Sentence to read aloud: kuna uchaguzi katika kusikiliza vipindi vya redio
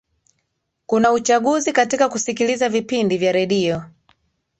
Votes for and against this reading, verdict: 1, 2, rejected